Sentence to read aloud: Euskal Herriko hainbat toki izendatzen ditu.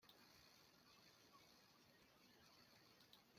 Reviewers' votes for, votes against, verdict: 0, 2, rejected